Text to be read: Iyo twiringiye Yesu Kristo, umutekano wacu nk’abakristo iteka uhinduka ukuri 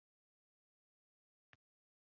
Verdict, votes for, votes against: rejected, 0, 2